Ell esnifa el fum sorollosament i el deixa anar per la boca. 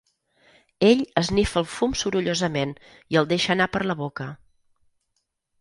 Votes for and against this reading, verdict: 6, 0, accepted